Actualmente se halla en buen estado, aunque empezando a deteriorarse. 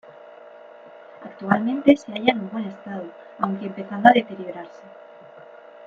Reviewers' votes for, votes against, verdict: 0, 2, rejected